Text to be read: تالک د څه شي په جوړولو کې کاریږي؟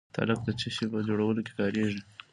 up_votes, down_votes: 2, 0